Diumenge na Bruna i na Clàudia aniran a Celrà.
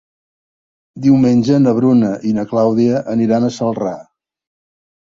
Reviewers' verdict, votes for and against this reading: accepted, 3, 0